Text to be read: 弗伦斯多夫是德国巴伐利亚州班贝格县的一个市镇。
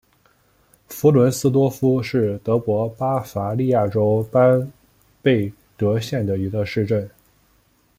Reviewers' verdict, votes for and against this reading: accepted, 2, 0